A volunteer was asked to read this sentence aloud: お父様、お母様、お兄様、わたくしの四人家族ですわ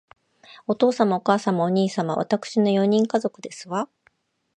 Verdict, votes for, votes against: accepted, 2, 0